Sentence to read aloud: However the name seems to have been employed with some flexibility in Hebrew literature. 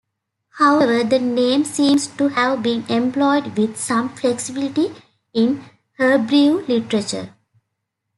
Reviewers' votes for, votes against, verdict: 1, 2, rejected